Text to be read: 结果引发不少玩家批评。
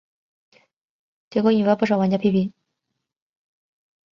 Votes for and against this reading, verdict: 2, 0, accepted